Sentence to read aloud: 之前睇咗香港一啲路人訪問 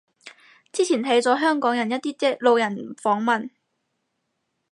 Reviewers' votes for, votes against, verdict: 2, 4, rejected